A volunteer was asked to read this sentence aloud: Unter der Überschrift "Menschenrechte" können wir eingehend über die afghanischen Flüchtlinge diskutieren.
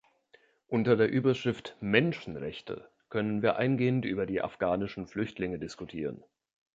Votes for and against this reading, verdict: 2, 0, accepted